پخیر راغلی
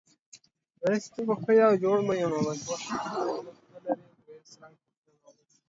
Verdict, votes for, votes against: rejected, 0, 2